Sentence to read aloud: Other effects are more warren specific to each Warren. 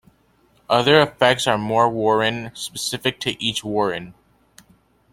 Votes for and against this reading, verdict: 2, 0, accepted